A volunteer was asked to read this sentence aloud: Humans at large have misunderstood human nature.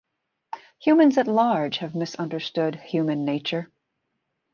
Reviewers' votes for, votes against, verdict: 2, 0, accepted